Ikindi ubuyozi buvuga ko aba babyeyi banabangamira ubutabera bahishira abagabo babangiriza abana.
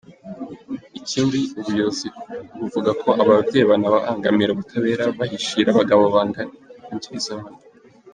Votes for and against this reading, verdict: 0, 2, rejected